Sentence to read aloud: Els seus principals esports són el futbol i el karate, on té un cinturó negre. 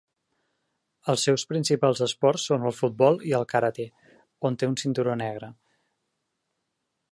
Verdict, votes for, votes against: accepted, 4, 0